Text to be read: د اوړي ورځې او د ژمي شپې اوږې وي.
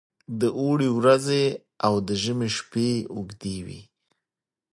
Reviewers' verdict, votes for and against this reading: accepted, 2, 0